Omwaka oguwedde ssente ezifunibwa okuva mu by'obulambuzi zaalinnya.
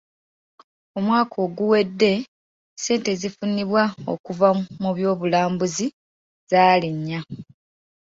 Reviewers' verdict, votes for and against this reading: accepted, 2, 0